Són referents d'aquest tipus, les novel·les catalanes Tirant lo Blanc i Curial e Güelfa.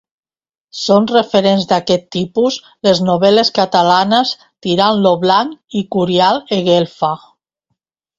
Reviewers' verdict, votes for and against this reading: rejected, 1, 2